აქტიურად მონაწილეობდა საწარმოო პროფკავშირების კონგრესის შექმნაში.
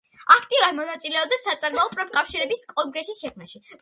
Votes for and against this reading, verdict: 2, 0, accepted